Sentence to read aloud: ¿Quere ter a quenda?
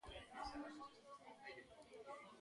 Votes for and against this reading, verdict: 0, 2, rejected